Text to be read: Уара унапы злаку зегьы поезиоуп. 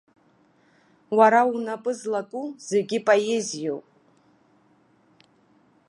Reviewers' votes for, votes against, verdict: 2, 0, accepted